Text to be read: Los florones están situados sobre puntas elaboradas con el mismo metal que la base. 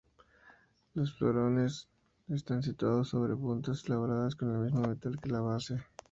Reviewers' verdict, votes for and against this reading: accepted, 6, 0